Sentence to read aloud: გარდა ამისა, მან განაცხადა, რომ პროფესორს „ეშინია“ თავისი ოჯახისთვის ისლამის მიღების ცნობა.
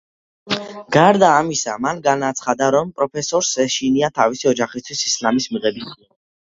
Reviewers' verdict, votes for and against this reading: rejected, 0, 2